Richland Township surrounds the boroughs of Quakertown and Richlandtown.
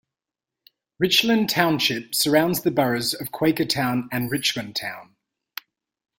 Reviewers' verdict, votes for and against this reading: rejected, 1, 2